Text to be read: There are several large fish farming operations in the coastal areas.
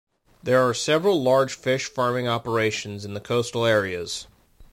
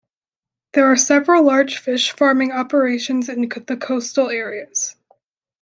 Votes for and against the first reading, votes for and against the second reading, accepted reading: 2, 0, 0, 2, first